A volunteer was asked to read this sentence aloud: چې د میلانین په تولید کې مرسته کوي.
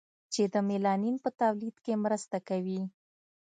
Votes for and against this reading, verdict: 2, 0, accepted